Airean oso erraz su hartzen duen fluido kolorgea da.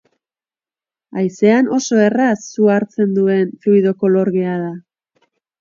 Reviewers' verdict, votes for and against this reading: rejected, 0, 2